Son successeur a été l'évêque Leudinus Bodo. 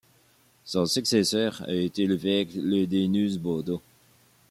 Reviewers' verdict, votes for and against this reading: accepted, 2, 0